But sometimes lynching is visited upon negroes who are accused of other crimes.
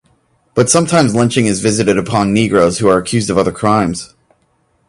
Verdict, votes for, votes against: accepted, 2, 0